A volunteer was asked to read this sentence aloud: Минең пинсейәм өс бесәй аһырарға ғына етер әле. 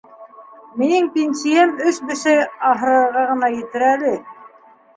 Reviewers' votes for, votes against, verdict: 2, 0, accepted